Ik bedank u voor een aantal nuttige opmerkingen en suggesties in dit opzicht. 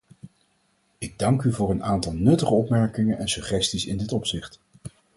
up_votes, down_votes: 2, 4